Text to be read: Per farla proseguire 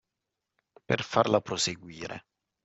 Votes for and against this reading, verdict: 2, 0, accepted